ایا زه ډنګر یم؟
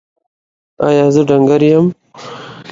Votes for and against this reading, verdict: 2, 0, accepted